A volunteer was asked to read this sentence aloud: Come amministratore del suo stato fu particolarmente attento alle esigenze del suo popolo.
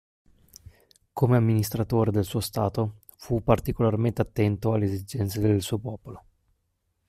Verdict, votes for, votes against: accepted, 2, 0